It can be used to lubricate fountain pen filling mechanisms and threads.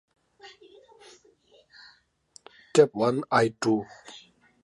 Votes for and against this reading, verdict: 0, 2, rejected